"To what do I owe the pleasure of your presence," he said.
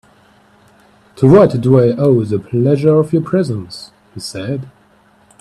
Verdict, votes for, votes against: accepted, 3, 0